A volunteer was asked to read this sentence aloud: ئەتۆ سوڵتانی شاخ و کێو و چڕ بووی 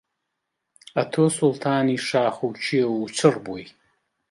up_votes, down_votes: 2, 0